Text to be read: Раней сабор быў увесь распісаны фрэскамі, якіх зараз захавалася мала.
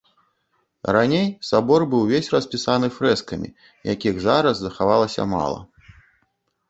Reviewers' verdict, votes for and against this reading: accepted, 2, 0